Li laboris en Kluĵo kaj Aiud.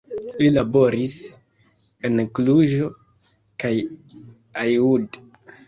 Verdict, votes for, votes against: rejected, 0, 2